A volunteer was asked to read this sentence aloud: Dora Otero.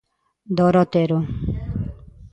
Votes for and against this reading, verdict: 2, 0, accepted